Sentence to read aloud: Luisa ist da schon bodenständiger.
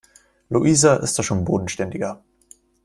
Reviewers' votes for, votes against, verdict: 2, 0, accepted